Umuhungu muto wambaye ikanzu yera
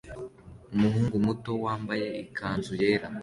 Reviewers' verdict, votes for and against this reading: accepted, 2, 0